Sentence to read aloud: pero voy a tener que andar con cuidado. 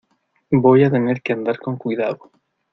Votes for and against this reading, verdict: 0, 2, rejected